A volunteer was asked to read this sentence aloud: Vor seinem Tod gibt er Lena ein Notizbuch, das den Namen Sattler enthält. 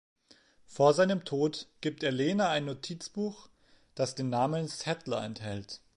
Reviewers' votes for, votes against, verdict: 0, 3, rejected